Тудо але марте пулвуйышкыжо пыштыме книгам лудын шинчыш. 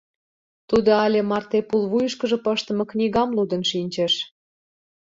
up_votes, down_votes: 2, 0